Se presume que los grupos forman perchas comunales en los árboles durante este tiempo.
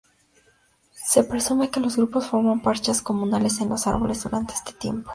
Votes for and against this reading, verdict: 0, 4, rejected